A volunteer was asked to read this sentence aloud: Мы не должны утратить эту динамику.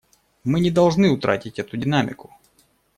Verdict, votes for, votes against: accepted, 2, 0